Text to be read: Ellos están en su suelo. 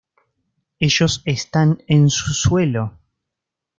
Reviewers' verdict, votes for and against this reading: accepted, 2, 0